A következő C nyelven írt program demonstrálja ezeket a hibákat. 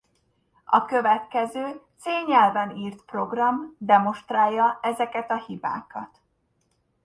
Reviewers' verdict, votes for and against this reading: accepted, 2, 0